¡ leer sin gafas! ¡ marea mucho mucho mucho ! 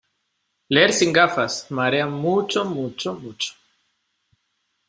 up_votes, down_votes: 2, 0